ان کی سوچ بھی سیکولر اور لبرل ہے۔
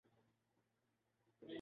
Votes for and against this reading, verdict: 0, 2, rejected